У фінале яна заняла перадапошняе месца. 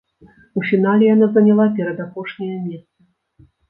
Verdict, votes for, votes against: rejected, 0, 2